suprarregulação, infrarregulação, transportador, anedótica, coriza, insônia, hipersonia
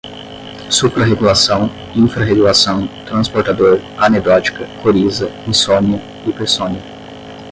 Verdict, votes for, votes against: rejected, 5, 5